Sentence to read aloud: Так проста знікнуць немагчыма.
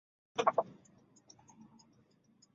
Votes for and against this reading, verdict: 0, 2, rejected